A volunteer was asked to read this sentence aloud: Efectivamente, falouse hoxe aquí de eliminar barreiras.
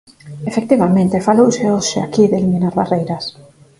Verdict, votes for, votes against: accepted, 4, 0